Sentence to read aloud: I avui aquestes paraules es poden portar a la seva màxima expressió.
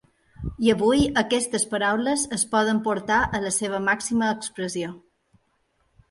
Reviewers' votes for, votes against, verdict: 3, 0, accepted